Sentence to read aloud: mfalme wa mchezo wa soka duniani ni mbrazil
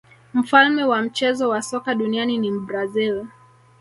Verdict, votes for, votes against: accepted, 3, 1